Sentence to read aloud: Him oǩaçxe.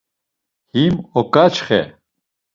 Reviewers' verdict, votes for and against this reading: accepted, 2, 0